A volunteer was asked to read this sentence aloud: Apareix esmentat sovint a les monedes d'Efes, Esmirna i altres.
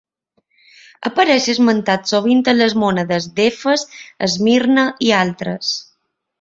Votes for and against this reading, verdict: 2, 0, accepted